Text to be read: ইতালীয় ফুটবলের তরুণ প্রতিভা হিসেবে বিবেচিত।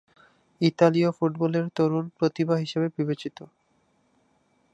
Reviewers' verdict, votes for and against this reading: accepted, 2, 0